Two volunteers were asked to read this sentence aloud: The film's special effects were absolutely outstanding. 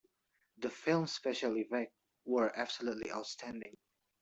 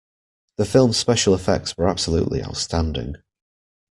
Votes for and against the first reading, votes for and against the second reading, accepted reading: 0, 2, 2, 0, second